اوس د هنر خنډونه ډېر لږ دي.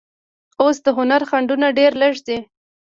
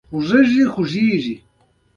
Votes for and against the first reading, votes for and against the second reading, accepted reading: 1, 2, 2, 0, second